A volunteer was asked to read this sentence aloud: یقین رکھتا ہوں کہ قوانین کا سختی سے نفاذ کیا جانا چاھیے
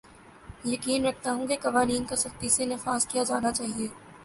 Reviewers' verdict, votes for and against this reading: accepted, 2, 0